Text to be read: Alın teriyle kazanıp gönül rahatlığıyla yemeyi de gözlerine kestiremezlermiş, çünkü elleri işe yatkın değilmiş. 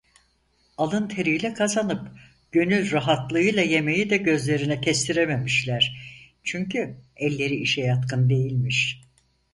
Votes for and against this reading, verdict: 2, 4, rejected